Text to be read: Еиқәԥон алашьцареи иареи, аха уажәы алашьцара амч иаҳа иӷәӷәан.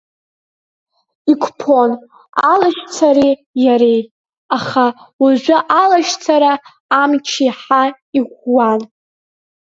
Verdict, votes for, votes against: accepted, 2, 1